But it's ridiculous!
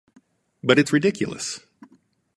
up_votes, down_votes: 2, 0